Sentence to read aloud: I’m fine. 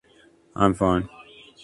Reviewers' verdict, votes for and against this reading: accepted, 2, 0